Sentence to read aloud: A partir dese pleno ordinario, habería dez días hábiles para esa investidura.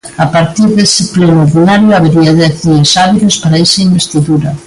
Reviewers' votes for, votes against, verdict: 1, 2, rejected